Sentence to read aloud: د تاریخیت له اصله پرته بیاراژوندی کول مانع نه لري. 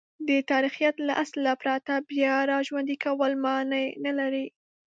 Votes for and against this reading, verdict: 1, 2, rejected